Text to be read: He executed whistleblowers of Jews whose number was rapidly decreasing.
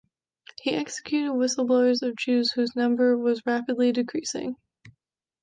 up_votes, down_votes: 2, 0